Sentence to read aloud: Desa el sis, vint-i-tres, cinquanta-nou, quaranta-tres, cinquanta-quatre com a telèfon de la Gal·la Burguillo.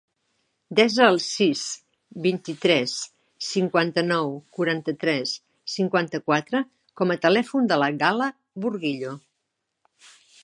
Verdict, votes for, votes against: accepted, 2, 0